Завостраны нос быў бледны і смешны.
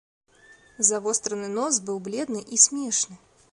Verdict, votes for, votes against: accepted, 2, 0